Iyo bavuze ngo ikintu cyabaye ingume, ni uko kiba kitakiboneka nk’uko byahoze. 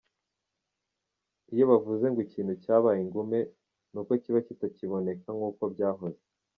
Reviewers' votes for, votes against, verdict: 2, 0, accepted